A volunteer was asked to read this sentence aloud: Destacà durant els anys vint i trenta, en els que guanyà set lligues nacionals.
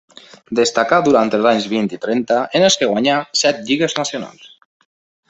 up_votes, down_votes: 3, 0